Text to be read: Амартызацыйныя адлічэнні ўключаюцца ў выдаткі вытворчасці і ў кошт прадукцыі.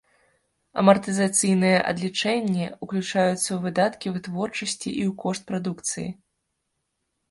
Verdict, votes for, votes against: accepted, 2, 0